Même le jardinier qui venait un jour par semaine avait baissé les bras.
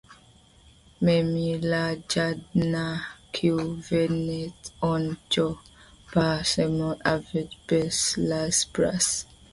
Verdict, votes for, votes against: rejected, 1, 2